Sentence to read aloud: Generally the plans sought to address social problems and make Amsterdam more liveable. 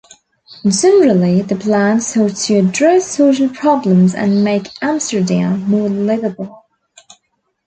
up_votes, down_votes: 1, 2